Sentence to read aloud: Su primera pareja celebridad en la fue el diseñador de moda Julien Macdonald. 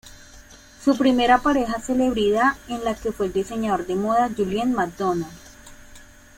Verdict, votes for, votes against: rejected, 1, 2